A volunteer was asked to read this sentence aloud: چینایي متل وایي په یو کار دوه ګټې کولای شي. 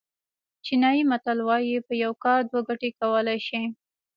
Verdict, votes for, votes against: rejected, 0, 2